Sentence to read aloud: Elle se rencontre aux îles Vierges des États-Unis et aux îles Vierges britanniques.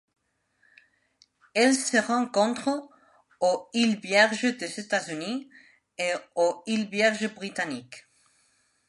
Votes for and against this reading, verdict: 2, 0, accepted